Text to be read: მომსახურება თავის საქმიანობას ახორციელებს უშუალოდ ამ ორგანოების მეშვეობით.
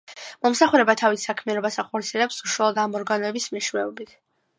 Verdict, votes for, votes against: accepted, 2, 0